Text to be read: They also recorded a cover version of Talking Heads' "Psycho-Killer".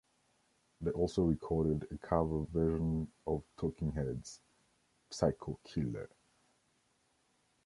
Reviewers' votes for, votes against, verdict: 1, 2, rejected